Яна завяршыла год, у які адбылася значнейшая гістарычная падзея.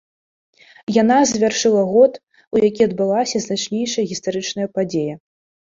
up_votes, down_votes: 2, 0